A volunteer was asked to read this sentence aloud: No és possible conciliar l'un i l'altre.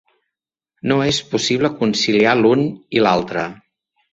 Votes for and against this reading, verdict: 3, 0, accepted